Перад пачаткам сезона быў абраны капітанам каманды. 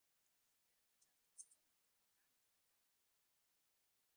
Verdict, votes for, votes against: rejected, 0, 2